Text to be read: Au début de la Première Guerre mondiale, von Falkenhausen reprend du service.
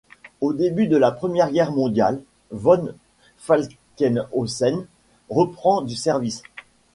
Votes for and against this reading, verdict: 2, 0, accepted